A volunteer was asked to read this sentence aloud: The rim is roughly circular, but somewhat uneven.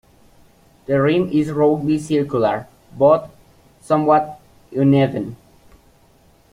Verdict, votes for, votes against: rejected, 0, 2